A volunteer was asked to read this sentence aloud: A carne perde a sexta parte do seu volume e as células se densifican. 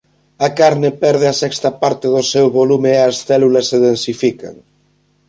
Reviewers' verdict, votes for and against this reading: accepted, 2, 0